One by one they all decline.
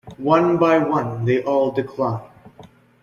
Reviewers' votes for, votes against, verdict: 2, 0, accepted